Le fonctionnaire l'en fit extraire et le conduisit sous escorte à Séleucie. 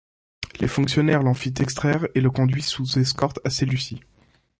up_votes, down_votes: 1, 2